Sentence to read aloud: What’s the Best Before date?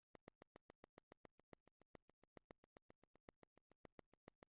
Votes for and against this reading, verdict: 0, 2, rejected